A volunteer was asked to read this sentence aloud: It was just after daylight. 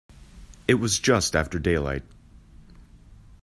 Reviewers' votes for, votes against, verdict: 2, 0, accepted